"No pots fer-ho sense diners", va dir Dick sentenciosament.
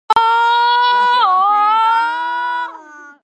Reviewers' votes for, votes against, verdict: 0, 3, rejected